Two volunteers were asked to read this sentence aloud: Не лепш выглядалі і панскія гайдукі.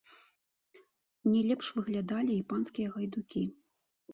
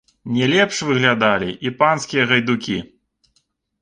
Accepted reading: second